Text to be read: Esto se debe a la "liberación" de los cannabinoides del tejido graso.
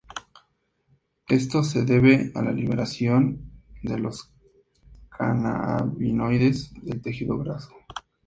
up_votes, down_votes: 2, 0